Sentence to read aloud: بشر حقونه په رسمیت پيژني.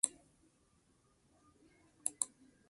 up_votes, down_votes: 0, 2